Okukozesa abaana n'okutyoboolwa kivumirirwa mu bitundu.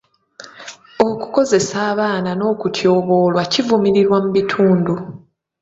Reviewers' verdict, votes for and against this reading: accepted, 2, 0